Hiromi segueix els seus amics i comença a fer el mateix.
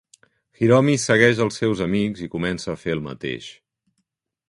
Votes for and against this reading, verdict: 3, 0, accepted